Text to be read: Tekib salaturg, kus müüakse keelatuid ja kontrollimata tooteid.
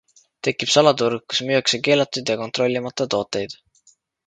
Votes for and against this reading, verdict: 2, 0, accepted